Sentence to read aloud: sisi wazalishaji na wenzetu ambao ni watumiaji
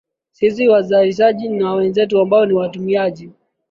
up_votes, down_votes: 10, 1